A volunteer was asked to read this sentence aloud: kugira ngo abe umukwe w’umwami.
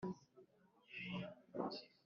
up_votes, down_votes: 0, 2